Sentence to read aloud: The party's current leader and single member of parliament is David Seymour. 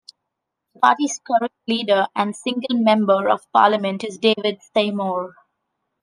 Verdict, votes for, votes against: accepted, 2, 0